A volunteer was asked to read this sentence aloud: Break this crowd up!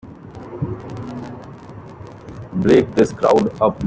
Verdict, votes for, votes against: rejected, 1, 2